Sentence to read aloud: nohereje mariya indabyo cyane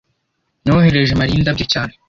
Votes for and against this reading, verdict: 2, 0, accepted